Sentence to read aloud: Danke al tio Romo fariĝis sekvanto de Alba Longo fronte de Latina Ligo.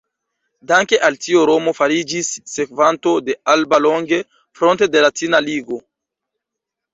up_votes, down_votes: 1, 2